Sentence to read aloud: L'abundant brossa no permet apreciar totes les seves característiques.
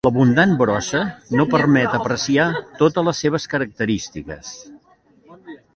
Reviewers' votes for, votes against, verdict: 2, 0, accepted